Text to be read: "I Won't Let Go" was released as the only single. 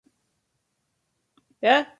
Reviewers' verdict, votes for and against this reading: rejected, 0, 2